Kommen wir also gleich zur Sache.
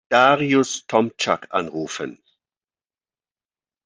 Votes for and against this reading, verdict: 0, 2, rejected